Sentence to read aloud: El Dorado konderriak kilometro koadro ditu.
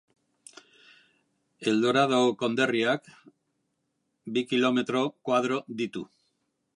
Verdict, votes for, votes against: rejected, 0, 2